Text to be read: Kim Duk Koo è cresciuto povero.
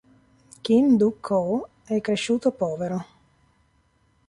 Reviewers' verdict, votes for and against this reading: accepted, 2, 0